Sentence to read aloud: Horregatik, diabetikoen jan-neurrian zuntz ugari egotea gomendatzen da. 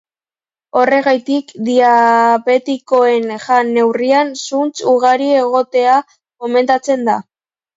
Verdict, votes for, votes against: rejected, 1, 2